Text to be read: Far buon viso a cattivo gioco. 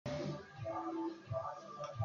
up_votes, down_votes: 0, 2